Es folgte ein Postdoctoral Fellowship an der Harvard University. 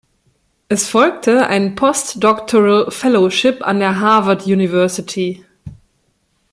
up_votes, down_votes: 2, 0